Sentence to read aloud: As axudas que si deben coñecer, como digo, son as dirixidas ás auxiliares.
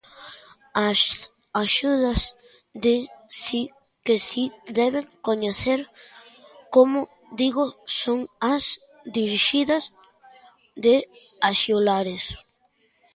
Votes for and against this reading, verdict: 0, 2, rejected